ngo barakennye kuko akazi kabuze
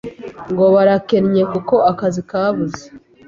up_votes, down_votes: 2, 0